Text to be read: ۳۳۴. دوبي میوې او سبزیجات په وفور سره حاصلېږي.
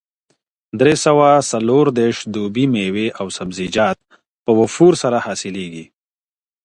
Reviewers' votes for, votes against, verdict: 0, 2, rejected